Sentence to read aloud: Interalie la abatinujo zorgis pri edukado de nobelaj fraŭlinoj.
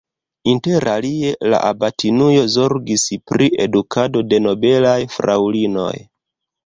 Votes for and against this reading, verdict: 0, 2, rejected